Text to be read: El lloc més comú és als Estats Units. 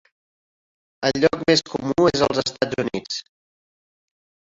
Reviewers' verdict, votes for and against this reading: rejected, 0, 2